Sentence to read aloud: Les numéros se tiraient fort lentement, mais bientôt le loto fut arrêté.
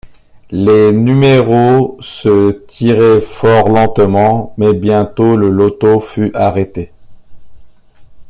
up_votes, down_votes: 0, 2